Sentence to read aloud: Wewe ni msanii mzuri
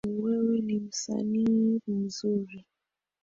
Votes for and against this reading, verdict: 2, 1, accepted